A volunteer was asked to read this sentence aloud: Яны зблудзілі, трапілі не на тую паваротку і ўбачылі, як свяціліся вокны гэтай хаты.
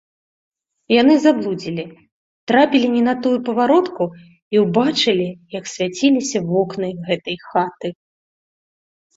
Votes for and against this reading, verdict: 1, 2, rejected